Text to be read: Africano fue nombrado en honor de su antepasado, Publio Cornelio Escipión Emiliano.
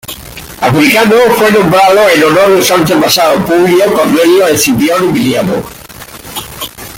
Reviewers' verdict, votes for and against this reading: rejected, 1, 2